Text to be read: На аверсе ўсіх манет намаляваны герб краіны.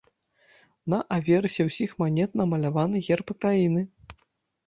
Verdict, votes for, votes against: rejected, 0, 2